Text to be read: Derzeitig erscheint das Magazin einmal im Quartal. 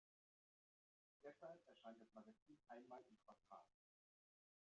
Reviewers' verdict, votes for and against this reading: rejected, 0, 2